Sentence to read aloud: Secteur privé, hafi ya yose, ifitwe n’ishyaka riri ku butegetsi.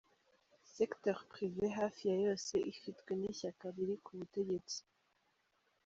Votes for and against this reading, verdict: 2, 0, accepted